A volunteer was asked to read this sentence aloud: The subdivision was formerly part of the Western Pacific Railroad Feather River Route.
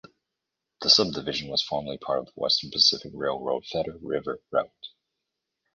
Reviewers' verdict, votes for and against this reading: accepted, 2, 0